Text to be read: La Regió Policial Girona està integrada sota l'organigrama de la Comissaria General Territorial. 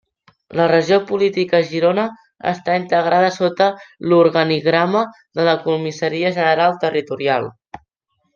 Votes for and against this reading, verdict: 0, 2, rejected